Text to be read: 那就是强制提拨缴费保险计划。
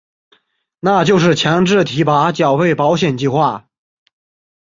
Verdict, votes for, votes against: accepted, 2, 0